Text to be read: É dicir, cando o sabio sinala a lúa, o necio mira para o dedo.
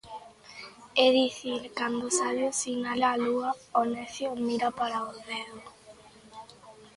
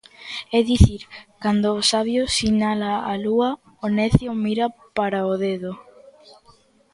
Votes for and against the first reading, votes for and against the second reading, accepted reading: 1, 2, 2, 0, second